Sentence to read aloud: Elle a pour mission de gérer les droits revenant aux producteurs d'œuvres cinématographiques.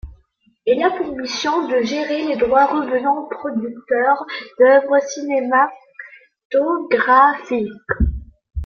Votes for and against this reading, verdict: 2, 1, accepted